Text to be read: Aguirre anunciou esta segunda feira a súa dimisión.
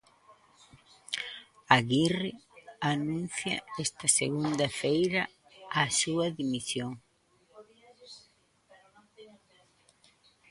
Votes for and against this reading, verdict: 0, 2, rejected